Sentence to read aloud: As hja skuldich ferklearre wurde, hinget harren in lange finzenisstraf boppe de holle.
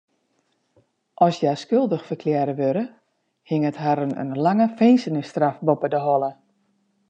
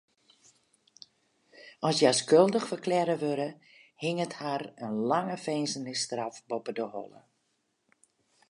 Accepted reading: first